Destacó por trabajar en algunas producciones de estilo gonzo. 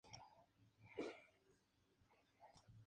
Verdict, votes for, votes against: accepted, 2, 0